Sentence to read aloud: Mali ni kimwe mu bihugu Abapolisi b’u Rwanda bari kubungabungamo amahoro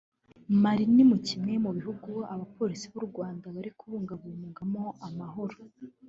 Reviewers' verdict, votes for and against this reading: rejected, 0, 2